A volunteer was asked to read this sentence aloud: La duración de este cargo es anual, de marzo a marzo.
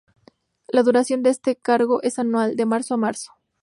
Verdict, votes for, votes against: accepted, 2, 0